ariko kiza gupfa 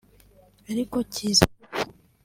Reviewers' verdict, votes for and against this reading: accepted, 2, 0